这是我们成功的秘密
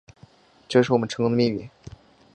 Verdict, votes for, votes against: accepted, 3, 0